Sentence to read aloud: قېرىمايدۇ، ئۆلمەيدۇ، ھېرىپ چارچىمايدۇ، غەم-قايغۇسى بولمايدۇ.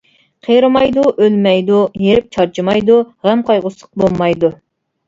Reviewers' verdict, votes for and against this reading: rejected, 0, 2